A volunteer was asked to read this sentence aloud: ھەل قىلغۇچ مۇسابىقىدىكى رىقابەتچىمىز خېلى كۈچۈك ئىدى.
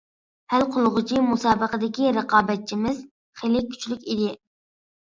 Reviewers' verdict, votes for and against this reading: rejected, 1, 2